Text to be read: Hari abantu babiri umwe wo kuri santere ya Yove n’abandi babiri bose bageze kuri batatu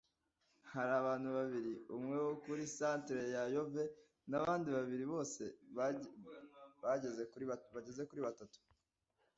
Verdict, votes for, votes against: rejected, 1, 2